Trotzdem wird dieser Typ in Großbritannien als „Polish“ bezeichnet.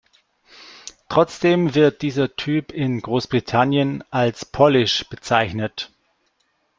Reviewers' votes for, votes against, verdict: 2, 1, accepted